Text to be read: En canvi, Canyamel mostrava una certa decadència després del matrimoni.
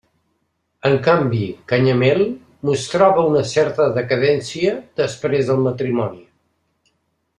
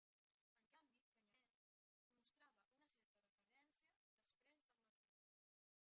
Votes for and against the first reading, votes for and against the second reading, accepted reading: 3, 0, 0, 2, first